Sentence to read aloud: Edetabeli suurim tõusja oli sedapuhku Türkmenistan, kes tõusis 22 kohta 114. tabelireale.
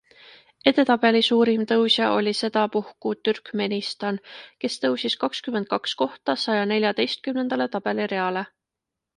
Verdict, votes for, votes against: rejected, 0, 2